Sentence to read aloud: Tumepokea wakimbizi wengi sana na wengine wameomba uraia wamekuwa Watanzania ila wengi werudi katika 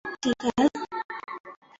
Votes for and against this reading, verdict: 0, 2, rejected